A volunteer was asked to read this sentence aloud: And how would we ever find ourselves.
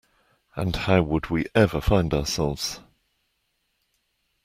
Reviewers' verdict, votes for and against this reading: accepted, 2, 0